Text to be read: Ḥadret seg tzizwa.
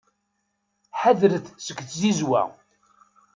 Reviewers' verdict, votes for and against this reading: accepted, 2, 0